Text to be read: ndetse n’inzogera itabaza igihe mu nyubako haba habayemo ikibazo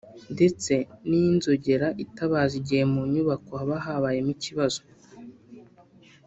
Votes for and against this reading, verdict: 0, 2, rejected